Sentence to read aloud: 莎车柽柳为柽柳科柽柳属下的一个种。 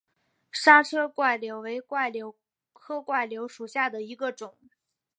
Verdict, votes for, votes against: accepted, 4, 1